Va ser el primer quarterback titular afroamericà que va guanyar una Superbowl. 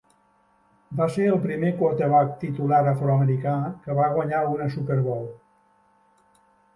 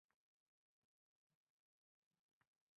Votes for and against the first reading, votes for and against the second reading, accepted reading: 3, 1, 2, 3, first